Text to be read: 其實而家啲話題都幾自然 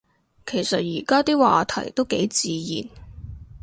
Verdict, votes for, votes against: accepted, 2, 0